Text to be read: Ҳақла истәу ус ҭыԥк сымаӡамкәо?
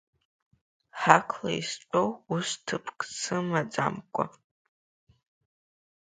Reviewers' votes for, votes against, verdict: 2, 0, accepted